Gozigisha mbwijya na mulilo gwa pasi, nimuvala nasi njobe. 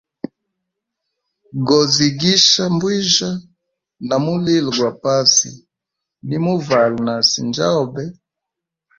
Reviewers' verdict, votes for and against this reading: accepted, 2, 0